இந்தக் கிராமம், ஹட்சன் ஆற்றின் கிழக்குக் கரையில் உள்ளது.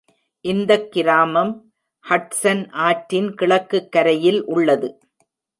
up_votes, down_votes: 2, 0